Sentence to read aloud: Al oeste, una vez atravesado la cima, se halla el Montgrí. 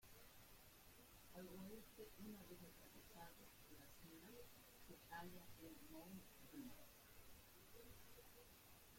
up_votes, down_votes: 0, 2